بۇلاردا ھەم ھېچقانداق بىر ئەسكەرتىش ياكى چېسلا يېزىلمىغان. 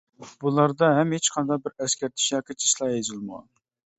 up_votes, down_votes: 1, 2